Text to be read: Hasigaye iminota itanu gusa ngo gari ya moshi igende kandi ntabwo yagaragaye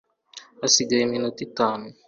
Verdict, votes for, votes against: rejected, 1, 2